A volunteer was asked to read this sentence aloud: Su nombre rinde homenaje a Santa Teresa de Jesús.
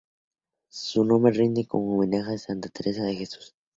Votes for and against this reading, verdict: 2, 0, accepted